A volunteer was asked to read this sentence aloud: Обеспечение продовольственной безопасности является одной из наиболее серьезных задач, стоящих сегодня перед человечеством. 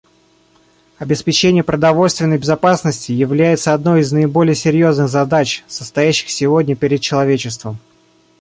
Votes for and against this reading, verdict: 0, 2, rejected